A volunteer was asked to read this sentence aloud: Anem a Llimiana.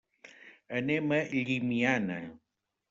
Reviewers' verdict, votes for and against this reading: accepted, 3, 0